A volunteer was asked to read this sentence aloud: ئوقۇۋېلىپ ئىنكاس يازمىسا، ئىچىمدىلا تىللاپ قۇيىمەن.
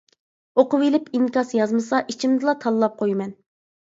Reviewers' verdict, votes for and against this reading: rejected, 1, 2